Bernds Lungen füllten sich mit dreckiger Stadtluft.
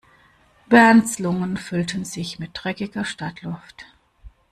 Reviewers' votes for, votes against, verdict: 2, 0, accepted